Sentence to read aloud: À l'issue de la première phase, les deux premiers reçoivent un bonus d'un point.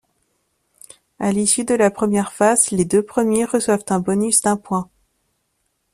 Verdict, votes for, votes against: accepted, 2, 0